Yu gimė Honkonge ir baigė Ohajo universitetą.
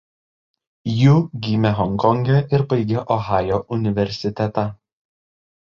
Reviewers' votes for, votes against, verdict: 2, 0, accepted